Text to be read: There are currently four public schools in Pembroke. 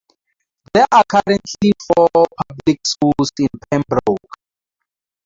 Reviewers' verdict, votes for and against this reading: rejected, 0, 2